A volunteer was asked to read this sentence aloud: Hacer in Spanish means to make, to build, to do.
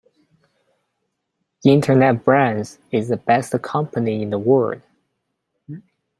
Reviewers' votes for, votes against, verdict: 0, 2, rejected